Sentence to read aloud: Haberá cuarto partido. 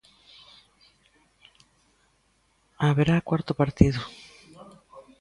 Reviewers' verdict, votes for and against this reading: rejected, 0, 2